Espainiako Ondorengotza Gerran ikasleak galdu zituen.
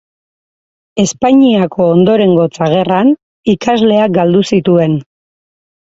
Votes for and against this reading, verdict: 4, 0, accepted